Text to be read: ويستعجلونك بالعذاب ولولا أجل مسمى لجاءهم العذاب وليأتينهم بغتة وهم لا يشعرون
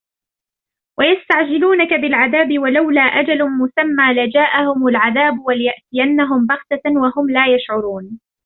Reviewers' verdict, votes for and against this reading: rejected, 1, 2